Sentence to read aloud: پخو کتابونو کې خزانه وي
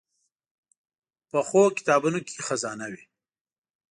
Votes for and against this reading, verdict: 2, 0, accepted